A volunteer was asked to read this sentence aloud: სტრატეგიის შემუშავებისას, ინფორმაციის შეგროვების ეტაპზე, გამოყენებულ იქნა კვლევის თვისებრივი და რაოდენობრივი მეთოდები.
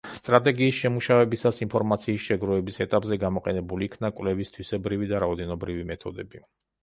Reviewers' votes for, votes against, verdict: 3, 0, accepted